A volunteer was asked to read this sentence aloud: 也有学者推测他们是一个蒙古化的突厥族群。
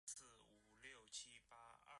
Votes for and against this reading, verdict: 0, 2, rejected